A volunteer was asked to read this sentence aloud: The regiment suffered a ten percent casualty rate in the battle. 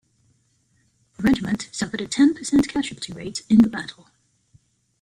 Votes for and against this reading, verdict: 0, 2, rejected